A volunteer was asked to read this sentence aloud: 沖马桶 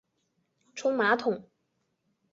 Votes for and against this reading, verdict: 0, 3, rejected